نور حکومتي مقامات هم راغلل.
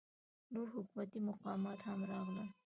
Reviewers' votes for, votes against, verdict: 1, 2, rejected